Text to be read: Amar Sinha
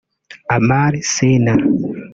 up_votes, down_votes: 1, 2